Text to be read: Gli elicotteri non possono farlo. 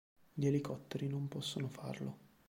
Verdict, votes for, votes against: accepted, 3, 0